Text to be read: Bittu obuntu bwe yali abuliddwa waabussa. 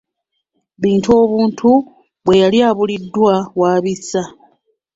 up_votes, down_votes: 1, 2